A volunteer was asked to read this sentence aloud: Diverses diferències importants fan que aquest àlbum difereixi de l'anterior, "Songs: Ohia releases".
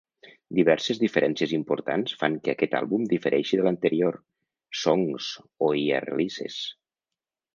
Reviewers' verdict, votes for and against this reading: accepted, 2, 0